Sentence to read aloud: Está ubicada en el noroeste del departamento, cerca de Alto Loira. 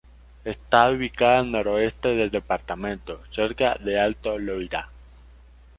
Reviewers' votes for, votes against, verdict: 2, 0, accepted